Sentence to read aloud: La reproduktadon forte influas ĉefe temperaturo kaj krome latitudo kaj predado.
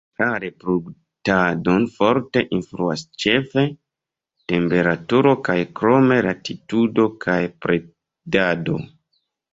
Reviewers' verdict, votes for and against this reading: accepted, 2, 1